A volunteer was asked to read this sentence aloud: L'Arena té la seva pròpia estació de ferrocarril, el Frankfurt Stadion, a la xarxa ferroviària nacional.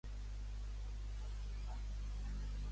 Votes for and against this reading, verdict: 0, 3, rejected